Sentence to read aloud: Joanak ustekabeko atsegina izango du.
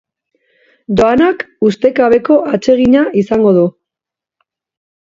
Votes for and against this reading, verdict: 2, 1, accepted